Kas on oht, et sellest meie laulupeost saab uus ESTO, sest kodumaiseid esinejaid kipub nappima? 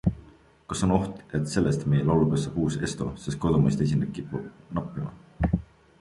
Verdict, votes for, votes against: accepted, 3, 2